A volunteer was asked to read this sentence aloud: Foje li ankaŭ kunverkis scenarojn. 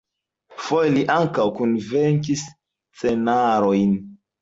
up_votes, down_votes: 0, 2